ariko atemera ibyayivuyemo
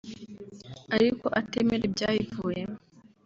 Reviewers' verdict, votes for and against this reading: accepted, 3, 1